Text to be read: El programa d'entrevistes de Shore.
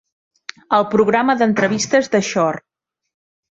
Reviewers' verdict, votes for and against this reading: accepted, 3, 0